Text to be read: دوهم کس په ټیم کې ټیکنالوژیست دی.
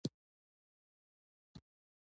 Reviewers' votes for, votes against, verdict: 2, 1, accepted